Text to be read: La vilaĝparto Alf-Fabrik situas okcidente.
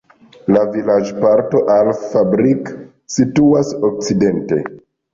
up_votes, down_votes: 2, 0